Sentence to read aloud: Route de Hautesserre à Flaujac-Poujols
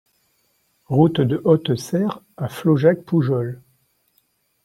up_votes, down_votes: 2, 0